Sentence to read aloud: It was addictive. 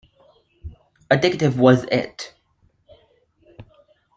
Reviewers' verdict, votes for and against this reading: rejected, 0, 2